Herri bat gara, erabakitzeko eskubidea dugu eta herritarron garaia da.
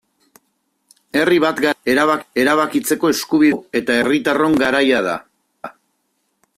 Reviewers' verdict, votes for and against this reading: rejected, 0, 2